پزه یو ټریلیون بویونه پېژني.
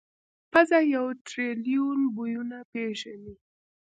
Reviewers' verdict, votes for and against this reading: accepted, 2, 0